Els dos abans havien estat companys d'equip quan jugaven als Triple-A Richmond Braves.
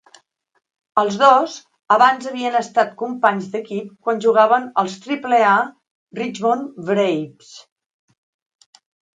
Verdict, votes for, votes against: accepted, 3, 0